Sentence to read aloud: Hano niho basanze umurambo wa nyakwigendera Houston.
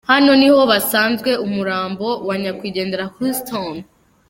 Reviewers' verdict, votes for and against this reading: rejected, 0, 2